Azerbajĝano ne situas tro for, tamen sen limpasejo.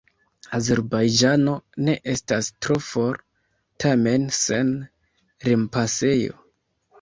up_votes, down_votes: 0, 2